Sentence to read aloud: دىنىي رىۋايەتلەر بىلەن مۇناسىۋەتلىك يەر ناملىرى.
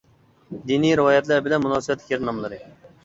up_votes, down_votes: 2, 0